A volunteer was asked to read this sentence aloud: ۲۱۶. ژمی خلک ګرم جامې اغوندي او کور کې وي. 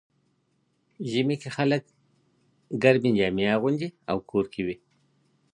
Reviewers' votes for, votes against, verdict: 0, 2, rejected